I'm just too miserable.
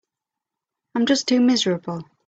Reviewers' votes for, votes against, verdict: 2, 0, accepted